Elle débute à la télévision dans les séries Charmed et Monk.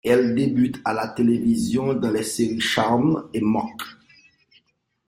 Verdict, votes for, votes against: accepted, 2, 0